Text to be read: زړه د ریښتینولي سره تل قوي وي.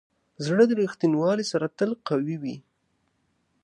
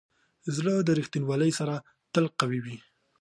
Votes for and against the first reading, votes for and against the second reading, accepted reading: 0, 2, 2, 0, second